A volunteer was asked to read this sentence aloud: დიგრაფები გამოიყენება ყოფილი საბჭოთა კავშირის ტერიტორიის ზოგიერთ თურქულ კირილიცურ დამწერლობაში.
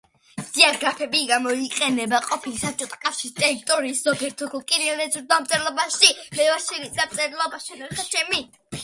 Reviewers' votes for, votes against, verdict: 0, 2, rejected